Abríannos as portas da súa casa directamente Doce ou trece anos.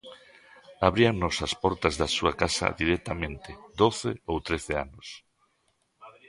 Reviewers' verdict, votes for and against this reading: rejected, 0, 2